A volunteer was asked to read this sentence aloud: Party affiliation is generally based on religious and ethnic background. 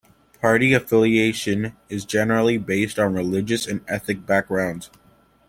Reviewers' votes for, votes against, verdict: 0, 2, rejected